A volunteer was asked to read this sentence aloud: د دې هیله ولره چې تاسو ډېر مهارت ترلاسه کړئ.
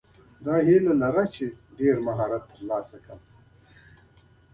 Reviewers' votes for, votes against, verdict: 1, 2, rejected